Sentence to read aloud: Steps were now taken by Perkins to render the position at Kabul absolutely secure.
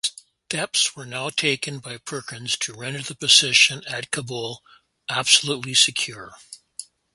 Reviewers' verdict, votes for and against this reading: accepted, 4, 0